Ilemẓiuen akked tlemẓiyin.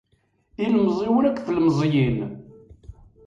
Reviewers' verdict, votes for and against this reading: rejected, 1, 2